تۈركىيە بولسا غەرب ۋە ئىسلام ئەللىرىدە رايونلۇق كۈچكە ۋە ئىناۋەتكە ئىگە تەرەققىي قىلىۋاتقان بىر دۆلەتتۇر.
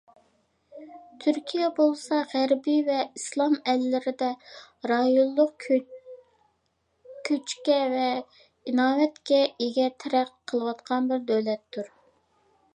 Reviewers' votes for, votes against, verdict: 1, 2, rejected